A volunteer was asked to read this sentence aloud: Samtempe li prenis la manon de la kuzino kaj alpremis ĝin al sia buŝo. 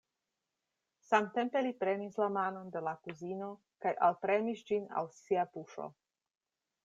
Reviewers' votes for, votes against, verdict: 2, 0, accepted